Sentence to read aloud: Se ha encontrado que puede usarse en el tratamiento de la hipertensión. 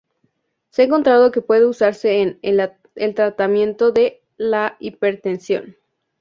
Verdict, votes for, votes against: rejected, 0, 2